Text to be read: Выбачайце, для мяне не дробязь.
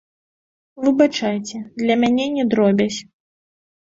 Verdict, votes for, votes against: accepted, 2, 0